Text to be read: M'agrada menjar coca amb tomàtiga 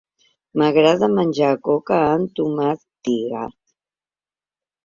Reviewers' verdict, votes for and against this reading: rejected, 1, 2